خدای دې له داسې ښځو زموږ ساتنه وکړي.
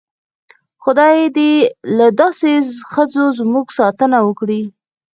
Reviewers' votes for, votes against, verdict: 0, 4, rejected